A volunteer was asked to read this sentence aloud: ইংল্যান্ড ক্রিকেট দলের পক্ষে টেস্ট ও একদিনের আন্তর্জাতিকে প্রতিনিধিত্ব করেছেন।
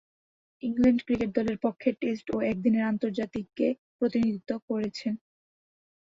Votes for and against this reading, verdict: 3, 2, accepted